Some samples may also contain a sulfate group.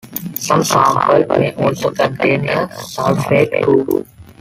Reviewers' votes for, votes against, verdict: 0, 2, rejected